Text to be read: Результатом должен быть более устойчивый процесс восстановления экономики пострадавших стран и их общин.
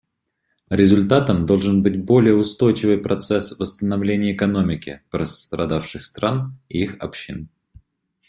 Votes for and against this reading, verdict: 1, 2, rejected